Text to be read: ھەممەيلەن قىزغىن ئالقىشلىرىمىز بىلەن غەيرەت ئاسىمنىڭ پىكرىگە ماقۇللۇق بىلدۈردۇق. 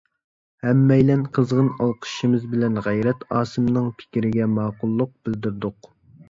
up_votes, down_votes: 1, 2